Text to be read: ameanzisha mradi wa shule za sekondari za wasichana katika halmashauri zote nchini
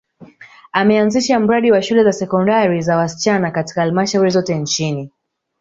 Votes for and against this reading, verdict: 2, 0, accepted